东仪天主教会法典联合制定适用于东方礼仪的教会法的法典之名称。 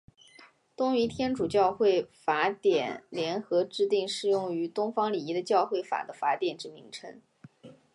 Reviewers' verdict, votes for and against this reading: accepted, 2, 0